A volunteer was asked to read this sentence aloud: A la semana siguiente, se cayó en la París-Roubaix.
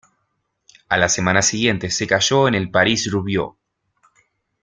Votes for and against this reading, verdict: 0, 2, rejected